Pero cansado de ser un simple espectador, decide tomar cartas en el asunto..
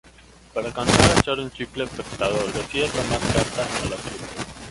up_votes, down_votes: 0, 2